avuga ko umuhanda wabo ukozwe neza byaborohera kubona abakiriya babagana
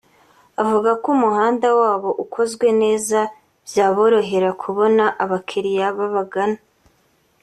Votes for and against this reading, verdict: 2, 0, accepted